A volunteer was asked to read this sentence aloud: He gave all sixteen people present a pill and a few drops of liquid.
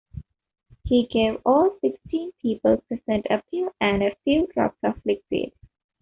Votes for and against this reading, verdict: 2, 1, accepted